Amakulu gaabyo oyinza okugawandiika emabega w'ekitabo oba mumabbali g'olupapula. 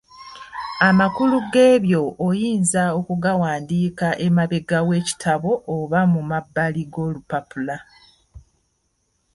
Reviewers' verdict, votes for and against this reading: rejected, 1, 2